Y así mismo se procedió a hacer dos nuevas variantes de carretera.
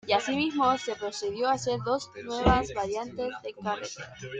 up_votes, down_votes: 0, 2